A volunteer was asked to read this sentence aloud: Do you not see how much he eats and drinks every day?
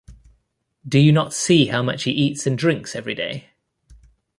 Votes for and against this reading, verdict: 2, 0, accepted